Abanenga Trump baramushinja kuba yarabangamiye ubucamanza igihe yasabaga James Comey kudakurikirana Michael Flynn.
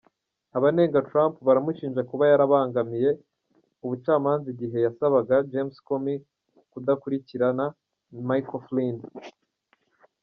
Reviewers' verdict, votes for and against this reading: accepted, 2, 0